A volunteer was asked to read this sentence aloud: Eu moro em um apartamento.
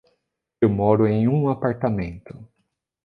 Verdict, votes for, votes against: accepted, 2, 0